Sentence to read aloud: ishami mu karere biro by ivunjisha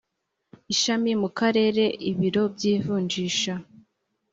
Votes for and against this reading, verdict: 1, 2, rejected